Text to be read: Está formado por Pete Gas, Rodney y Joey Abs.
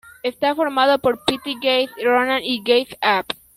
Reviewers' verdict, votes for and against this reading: rejected, 1, 2